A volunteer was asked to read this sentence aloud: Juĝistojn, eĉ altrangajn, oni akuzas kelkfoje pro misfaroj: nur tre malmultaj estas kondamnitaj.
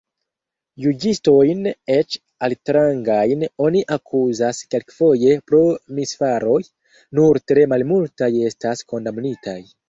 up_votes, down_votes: 0, 2